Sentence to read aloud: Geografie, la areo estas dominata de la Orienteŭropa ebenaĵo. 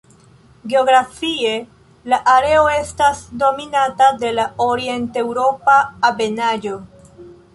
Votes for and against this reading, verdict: 0, 2, rejected